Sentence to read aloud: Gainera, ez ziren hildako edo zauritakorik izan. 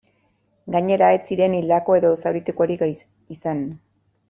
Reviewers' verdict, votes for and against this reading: rejected, 1, 2